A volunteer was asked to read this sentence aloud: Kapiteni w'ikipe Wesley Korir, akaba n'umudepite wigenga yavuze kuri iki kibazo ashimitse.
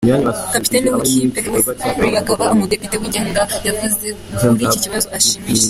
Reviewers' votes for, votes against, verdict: 0, 3, rejected